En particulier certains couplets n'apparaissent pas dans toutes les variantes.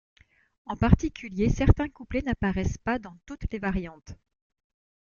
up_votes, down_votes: 1, 2